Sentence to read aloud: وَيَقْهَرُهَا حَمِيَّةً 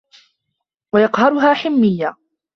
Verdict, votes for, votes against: rejected, 0, 2